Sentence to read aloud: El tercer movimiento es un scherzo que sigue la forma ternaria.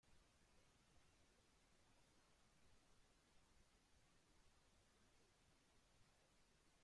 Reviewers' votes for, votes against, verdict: 0, 2, rejected